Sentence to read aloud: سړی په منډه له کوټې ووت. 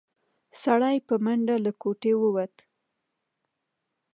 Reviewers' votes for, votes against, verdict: 2, 1, accepted